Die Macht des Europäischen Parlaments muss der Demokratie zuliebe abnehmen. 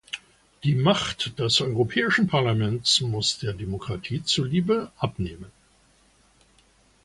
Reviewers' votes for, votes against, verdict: 2, 0, accepted